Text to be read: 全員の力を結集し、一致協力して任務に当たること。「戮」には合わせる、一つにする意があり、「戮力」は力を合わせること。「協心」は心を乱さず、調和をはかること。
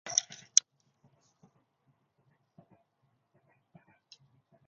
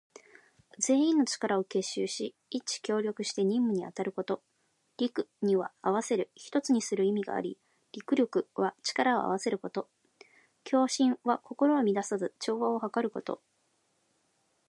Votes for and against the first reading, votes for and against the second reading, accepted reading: 1, 2, 2, 0, second